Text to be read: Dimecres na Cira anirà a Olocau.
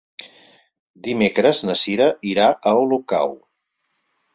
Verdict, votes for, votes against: rejected, 0, 4